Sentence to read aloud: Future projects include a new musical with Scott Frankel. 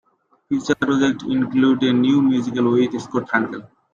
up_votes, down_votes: 1, 2